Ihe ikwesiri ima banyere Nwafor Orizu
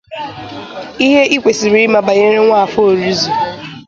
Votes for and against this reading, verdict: 2, 0, accepted